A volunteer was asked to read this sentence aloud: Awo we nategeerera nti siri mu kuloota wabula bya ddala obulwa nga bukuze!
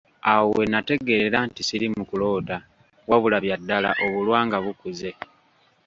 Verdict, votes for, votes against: rejected, 1, 2